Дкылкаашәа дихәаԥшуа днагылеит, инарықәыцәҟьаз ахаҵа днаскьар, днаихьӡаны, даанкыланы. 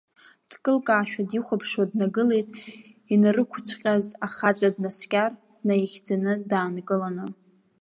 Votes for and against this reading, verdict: 3, 1, accepted